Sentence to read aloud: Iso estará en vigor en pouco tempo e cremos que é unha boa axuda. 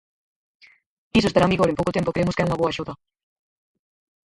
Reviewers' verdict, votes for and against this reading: rejected, 0, 4